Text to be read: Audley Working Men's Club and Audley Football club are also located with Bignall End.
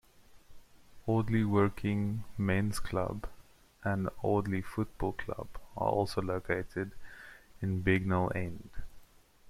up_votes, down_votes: 0, 2